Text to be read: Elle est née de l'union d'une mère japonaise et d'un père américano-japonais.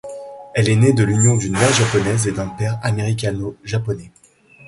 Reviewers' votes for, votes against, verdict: 2, 0, accepted